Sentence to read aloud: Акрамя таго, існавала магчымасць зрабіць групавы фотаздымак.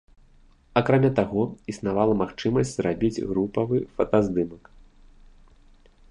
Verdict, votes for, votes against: rejected, 0, 2